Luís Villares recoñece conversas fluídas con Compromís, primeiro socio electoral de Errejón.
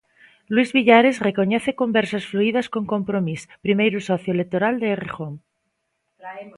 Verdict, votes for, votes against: accepted, 2, 1